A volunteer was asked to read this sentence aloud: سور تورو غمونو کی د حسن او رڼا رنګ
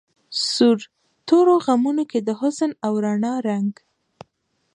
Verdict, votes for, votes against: rejected, 0, 2